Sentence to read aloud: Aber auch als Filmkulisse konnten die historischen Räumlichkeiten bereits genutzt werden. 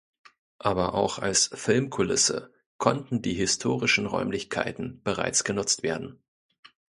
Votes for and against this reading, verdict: 2, 0, accepted